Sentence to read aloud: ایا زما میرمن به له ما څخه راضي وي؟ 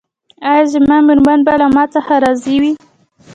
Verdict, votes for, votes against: rejected, 1, 2